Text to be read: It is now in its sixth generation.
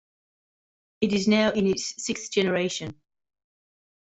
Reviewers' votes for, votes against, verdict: 2, 0, accepted